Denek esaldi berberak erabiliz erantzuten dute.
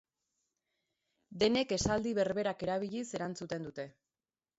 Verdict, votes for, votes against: accepted, 3, 0